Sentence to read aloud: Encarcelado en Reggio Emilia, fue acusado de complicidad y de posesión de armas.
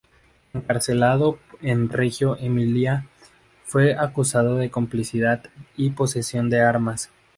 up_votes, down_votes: 0, 2